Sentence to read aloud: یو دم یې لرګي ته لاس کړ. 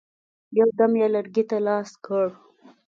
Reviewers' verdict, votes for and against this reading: accepted, 2, 0